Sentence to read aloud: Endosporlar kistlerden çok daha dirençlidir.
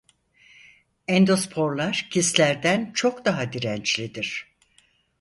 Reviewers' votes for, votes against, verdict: 4, 0, accepted